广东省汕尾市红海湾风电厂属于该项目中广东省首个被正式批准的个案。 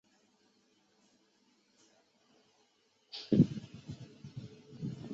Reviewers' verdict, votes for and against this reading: rejected, 0, 3